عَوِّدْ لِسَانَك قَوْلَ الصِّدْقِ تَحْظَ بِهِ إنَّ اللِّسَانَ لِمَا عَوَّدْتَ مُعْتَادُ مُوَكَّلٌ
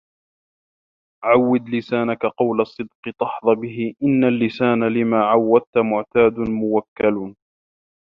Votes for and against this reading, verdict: 1, 2, rejected